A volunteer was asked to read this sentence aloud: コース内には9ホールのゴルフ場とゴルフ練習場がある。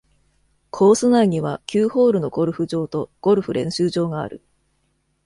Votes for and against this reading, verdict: 0, 2, rejected